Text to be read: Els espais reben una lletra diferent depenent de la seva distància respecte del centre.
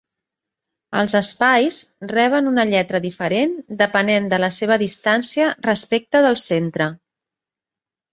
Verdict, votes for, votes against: accepted, 3, 0